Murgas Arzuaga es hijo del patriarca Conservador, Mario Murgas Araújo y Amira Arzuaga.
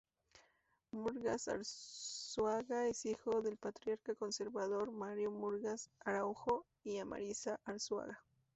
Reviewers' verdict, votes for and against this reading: rejected, 0, 2